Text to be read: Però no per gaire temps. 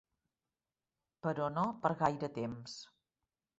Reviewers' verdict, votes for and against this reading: accepted, 3, 0